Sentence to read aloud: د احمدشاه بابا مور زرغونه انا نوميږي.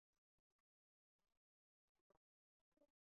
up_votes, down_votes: 0, 4